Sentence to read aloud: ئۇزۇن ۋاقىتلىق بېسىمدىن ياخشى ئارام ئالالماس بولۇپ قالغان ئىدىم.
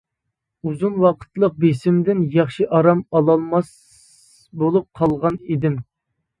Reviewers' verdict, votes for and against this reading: accepted, 2, 0